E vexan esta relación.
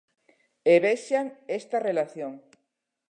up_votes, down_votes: 2, 0